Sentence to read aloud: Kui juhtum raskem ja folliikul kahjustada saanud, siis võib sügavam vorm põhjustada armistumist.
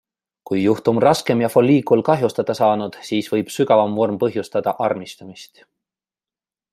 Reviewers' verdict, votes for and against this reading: accepted, 2, 0